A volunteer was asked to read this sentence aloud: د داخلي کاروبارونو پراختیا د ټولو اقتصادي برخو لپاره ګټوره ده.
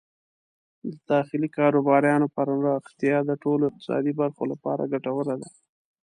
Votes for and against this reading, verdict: 2, 0, accepted